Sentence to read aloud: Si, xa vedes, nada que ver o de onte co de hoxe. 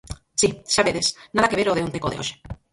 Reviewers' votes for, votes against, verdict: 2, 4, rejected